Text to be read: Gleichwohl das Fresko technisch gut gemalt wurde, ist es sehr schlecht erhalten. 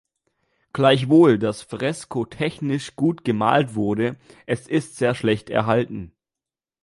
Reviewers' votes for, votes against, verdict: 1, 3, rejected